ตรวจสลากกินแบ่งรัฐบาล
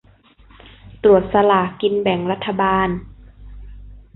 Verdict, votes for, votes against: accepted, 2, 0